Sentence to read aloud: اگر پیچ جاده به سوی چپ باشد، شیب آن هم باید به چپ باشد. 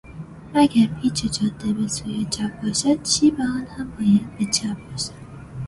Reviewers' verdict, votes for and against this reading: accepted, 2, 0